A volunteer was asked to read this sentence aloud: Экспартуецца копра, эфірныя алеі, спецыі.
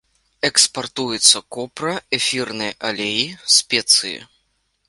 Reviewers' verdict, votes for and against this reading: accepted, 2, 0